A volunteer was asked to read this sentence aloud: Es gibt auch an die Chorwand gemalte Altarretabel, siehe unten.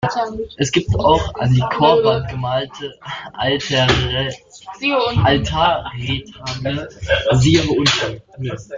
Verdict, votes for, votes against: rejected, 0, 2